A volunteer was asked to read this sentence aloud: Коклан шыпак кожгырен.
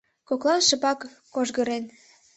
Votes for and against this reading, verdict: 3, 0, accepted